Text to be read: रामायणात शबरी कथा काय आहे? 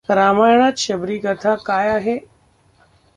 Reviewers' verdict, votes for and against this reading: rejected, 1, 2